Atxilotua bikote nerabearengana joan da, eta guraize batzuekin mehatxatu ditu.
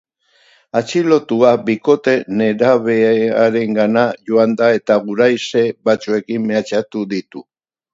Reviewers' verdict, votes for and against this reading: accepted, 2, 0